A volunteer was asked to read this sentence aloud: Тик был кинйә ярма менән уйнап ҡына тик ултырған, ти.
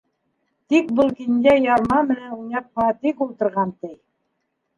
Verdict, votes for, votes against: rejected, 1, 2